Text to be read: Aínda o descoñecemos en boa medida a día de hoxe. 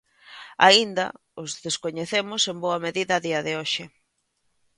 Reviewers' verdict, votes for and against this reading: rejected, 0, 2